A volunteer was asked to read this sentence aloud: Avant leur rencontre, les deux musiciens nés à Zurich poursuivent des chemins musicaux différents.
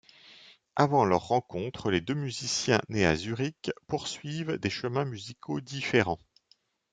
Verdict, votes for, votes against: accepted, 2, 0